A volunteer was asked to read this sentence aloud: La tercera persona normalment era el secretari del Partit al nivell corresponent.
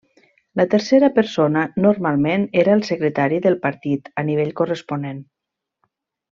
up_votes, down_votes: 0, 2